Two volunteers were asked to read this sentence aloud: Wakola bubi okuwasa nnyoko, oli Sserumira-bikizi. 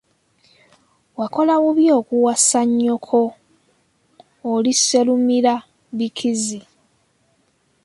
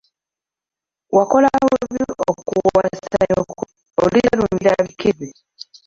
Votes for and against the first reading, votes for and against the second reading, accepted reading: 2, 1, 0, 2, first